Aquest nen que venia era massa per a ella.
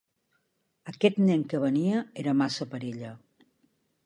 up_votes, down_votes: 0, 2